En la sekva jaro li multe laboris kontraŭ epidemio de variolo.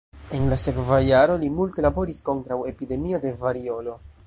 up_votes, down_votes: 3, 0